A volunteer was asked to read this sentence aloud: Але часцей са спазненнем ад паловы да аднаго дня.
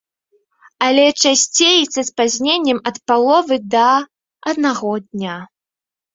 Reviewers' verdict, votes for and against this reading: accepted, 2, 0